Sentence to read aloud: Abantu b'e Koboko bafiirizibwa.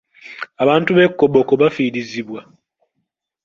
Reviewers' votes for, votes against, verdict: 1, 2, rejected